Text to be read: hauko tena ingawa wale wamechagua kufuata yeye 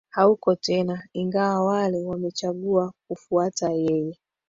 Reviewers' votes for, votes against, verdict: 2, 1, accepted